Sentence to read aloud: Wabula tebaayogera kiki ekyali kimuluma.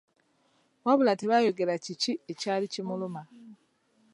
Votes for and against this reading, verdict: 2, 0, accepted